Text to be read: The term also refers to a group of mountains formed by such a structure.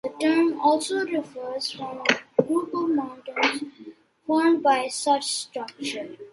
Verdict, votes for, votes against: rejected, 0, 2